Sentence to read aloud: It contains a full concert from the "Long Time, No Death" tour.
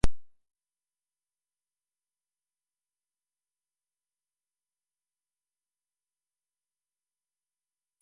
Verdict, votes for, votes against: rejected, 0, 2